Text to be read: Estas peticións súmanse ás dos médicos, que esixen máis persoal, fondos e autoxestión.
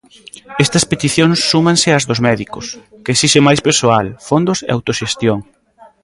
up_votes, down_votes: 1, 2